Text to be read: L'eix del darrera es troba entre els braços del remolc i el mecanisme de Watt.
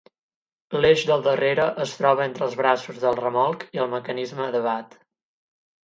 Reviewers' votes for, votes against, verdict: 8, 0, accepted